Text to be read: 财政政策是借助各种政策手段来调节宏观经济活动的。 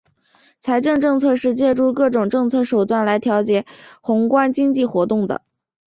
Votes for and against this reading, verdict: 5, 0, accepted